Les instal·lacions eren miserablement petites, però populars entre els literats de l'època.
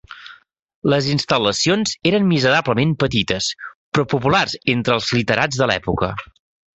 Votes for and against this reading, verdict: 3, 0, accepted